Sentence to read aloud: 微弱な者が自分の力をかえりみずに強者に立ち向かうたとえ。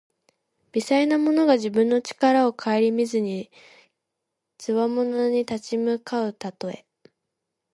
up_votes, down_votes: 1, 2